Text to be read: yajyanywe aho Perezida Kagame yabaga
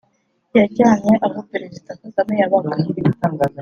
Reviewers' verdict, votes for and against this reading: rejected, 0, 2